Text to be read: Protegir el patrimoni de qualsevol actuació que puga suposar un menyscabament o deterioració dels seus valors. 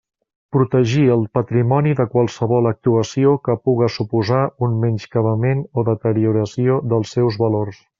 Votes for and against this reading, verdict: 2, 0, accepted